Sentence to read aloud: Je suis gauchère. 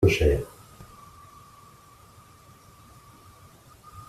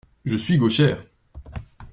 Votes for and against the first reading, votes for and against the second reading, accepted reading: 0, 2, 2, 0, second